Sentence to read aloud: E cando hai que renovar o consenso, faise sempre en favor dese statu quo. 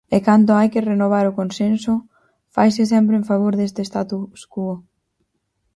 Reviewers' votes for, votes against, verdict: 0, 4, rejected